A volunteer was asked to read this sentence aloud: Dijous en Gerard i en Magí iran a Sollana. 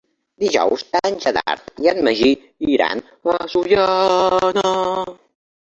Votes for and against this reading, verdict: 1, 3, rejected